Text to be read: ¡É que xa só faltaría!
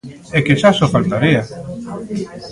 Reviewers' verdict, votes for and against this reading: accepted, 2, 0